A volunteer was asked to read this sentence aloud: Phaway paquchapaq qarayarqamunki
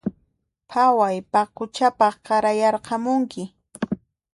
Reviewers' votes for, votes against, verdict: 2, 0, accepted